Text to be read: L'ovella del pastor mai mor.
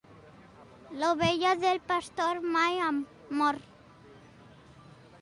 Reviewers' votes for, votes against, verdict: 1, 2, rejected